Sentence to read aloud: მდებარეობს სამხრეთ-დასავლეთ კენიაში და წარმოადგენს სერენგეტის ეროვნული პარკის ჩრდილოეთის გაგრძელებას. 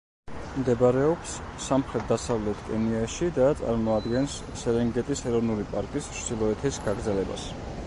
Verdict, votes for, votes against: accepted, 2, 0